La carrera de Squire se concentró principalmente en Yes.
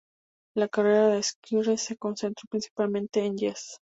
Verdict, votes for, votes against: accepted, 4, 0